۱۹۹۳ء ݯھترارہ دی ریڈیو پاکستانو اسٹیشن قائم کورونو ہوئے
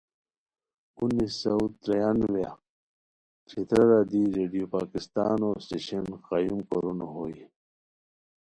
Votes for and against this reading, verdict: 0, 2, rejected